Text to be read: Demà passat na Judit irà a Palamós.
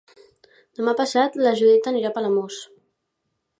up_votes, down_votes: 0, 2